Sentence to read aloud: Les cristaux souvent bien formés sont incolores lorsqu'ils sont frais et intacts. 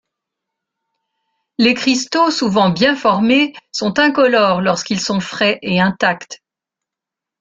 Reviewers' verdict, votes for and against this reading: accepted, 3, 0